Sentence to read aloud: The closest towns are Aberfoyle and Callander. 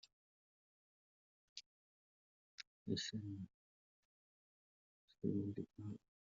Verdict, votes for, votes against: rejected, 0, 2